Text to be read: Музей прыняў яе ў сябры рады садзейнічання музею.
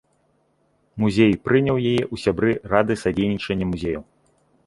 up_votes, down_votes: 1, 2